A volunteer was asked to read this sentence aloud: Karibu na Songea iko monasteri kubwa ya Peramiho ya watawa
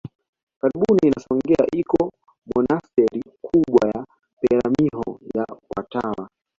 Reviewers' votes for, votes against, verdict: 1, 2, rejected